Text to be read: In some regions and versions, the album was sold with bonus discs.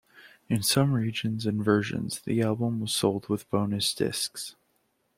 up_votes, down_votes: 2, 0